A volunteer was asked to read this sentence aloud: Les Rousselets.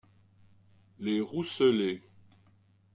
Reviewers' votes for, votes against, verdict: 2, 0, accepted